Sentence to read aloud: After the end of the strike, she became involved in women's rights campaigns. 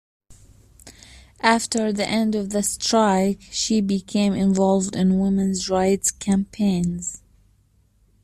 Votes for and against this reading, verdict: 2, 0, accepted